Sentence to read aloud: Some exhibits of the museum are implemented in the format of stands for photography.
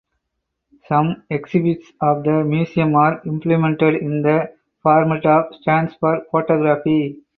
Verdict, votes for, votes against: accepted, 4, 0